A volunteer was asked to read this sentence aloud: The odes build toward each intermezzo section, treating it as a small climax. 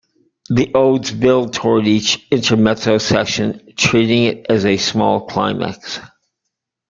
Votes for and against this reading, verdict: 2, 1, accepted